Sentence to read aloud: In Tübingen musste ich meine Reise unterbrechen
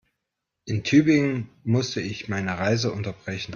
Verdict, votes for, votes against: accepted, 2, 0